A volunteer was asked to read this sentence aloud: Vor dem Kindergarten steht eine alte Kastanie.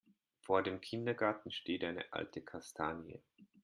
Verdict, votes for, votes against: accepted, 2, 0